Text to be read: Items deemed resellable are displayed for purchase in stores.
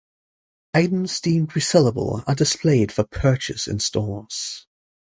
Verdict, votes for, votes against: accepted, 2, 0